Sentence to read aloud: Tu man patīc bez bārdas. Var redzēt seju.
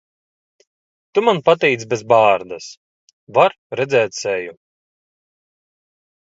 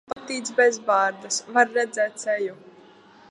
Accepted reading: first